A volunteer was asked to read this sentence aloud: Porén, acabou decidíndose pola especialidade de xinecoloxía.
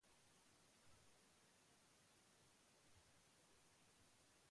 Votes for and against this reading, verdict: 0, 2, rejected